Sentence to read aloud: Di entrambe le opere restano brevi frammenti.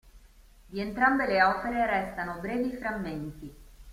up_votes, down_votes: 2, 0